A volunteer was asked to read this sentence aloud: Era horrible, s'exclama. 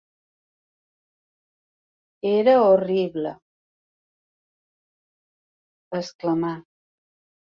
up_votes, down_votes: 0, 2